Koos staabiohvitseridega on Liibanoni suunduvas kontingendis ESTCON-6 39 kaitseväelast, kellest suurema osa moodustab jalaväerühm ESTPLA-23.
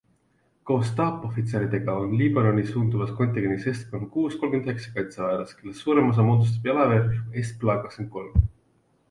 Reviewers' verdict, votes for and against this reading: rejected, 0, 2